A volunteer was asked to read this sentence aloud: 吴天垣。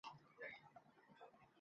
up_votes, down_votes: 0, 2